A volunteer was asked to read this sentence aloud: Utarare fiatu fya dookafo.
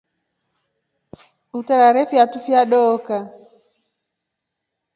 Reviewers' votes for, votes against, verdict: 1, 2, rejected